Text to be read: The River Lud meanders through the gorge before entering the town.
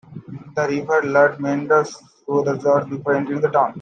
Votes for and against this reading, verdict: 1, 2, rejected